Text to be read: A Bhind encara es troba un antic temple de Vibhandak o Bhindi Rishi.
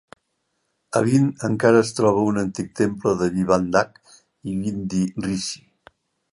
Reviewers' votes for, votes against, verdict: 0, 2, rejected